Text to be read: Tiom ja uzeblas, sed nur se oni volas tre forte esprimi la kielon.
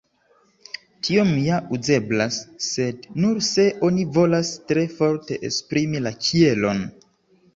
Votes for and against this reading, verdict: 2, 1, accepted